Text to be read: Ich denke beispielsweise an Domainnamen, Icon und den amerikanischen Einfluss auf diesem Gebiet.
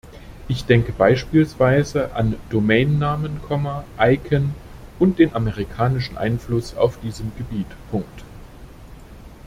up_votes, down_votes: 1, 2